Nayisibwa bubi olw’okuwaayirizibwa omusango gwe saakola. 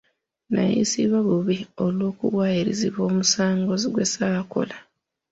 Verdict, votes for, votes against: rejected, 0, 2